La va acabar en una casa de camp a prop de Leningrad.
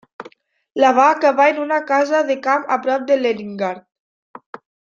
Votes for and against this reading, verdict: 0, 2, rejected